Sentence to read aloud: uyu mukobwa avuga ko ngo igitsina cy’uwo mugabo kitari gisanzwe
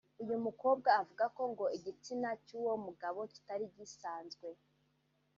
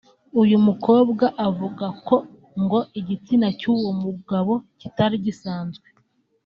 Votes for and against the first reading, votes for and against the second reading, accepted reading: 1, 2, 2, 1, second